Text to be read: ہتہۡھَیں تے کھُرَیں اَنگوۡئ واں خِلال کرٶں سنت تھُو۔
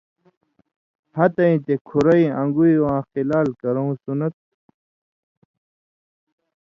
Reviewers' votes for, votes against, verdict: 2, 0, accepted